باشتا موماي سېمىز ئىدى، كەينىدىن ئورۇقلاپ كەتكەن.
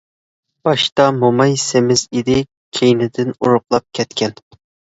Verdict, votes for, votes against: accepted, 2, 0